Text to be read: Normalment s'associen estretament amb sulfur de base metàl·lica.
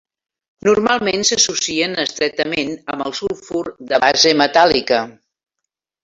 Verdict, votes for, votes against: rejected, 2, 3